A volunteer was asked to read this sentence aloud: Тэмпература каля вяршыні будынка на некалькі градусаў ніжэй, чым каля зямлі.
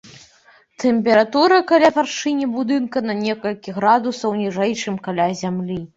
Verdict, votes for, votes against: accepted, 3, 0